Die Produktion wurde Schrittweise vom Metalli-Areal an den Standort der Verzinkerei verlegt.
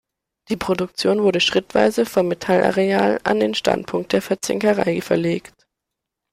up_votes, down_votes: 1, 2